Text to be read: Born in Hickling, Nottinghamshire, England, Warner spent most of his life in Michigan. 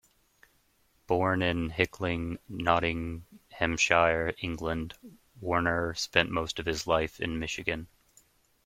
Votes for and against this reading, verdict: 2, 0, accepted